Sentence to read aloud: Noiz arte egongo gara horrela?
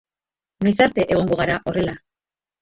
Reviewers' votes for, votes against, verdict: 2, 1, accepted